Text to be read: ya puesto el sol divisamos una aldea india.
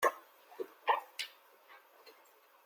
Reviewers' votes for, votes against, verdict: 0, 2, rejected